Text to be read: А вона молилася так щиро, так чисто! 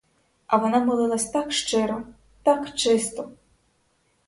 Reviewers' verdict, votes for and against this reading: rejected, 2, 4